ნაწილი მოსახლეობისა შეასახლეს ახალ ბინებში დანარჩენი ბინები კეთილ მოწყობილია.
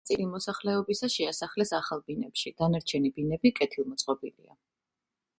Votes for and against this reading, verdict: 4, 0, accepted